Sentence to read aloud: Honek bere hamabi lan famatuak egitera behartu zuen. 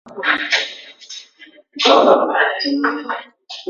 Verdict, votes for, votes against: rejected, 0, 3